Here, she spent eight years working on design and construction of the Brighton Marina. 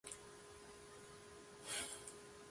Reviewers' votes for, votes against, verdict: 0, 2, rejected